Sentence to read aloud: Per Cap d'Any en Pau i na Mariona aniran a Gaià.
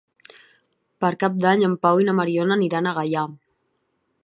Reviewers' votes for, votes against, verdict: 5, 0, accepted